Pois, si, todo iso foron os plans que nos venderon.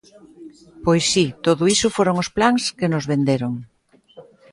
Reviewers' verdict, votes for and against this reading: accepted, 2, 0